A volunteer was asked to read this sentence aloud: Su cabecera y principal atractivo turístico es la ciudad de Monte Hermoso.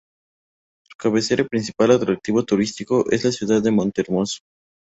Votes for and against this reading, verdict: 2, 0, accepted